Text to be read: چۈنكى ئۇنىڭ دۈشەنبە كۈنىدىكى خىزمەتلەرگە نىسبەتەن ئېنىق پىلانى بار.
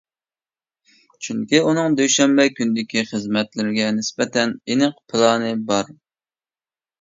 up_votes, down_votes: 1, 2